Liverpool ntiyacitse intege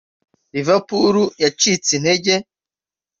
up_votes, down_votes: 1, 2